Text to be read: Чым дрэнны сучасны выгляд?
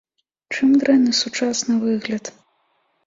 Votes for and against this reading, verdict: 2, 0, accepted